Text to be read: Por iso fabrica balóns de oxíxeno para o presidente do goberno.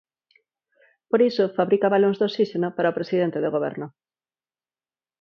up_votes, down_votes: 2, 4